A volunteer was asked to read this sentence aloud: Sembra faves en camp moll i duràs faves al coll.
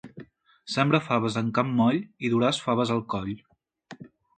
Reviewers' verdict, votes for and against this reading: accepted, 2, 0